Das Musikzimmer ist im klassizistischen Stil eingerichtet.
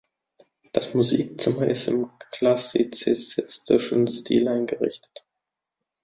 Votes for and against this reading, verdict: 0, 2, rejected